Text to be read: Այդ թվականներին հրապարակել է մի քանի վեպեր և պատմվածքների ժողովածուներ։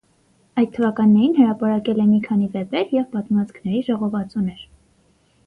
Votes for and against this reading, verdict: 6, 0, accepted